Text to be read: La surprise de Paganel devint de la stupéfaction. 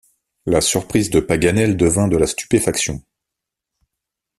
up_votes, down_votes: 2, 0